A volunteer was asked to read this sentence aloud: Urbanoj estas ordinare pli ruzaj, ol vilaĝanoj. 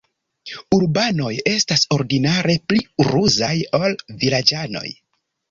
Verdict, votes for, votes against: accepted, 2, 1